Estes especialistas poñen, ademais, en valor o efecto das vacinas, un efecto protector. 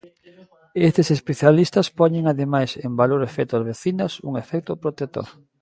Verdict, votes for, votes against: accepted, 2, 0